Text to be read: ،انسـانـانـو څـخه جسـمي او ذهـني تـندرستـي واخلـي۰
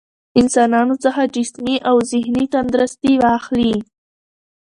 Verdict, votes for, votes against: rejected, 0, 2